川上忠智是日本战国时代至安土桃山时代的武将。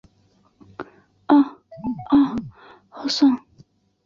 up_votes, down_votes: 0, 2